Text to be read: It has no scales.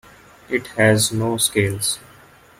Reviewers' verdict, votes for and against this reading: accepted, 2, 0